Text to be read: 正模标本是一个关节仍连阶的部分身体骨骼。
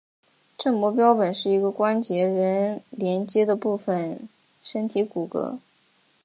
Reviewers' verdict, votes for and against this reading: accepted, 2, 0